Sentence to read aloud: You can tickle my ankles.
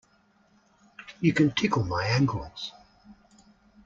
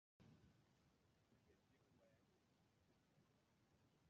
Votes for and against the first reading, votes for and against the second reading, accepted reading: 2, 0, 0, 2, first